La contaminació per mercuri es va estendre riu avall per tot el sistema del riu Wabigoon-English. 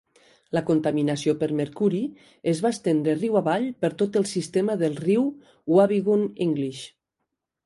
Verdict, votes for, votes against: accepted, 2, 0